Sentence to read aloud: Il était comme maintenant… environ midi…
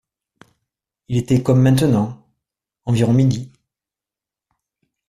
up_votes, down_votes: 2, 0